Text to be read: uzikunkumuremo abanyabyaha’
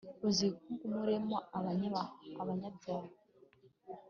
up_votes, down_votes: 0, 2